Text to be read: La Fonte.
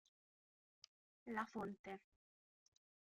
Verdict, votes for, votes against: rejected, 0, 2